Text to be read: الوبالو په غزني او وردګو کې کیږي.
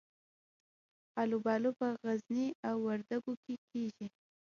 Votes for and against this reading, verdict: 1, 2, rejected